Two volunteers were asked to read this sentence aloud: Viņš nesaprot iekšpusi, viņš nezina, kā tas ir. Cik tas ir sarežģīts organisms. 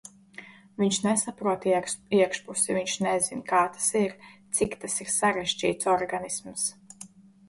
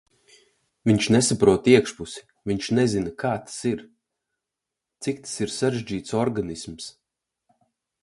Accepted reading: second